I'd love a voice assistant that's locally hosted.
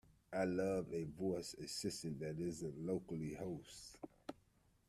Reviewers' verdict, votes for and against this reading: rejected, 0, 2